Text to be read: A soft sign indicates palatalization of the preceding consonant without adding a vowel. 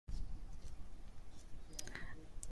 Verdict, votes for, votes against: rejected, 0, 2